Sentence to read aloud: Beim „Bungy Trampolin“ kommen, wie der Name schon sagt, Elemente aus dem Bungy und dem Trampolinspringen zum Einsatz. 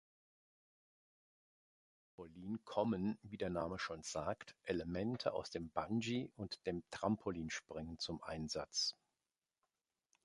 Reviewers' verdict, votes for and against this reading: rejected, 0, 2